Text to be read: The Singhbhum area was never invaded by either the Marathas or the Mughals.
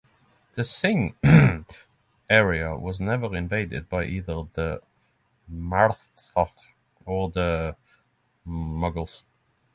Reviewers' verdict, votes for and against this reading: rejected, 0, 6